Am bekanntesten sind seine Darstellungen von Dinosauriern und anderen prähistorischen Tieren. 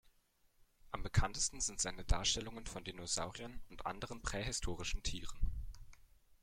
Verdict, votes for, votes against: accepted, 2, 1